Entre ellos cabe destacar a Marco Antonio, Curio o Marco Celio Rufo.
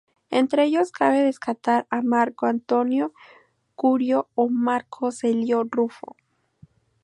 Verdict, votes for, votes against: accepted, 2, 0